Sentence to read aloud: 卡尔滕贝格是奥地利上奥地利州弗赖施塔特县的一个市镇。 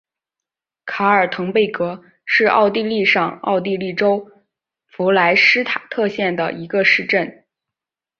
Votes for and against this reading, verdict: 9, 0, accepted